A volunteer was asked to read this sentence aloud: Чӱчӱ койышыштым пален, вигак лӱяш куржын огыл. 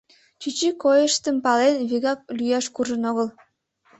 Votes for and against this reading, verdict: 1, 2, rejected